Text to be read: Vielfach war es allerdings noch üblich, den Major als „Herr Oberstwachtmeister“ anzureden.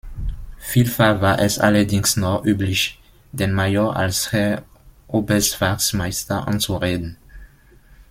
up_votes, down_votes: 0, 2